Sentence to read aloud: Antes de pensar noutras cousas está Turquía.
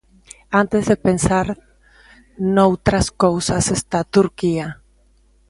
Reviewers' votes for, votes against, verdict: 2, 0, accepted